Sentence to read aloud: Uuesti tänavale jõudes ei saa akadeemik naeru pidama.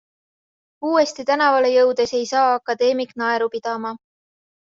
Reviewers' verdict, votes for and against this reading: accepted, 2, 0